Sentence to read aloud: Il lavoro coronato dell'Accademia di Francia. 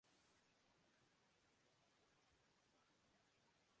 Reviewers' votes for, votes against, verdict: 0, 2, rejected